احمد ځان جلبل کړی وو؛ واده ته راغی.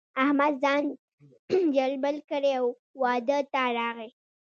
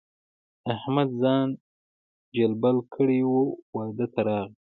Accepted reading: second